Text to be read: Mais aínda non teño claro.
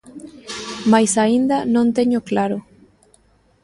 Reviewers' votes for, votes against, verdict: 2, 0, accepted